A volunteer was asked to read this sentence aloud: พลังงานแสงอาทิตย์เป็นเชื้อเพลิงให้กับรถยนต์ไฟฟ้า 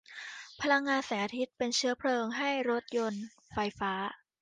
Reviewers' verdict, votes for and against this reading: rejected, 0, 2